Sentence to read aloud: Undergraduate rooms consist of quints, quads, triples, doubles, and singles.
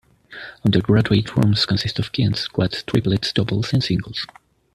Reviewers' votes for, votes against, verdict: 1, 2, rejected